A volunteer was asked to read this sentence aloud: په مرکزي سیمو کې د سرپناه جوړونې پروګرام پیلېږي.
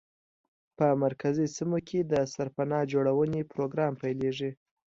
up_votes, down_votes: 2, 0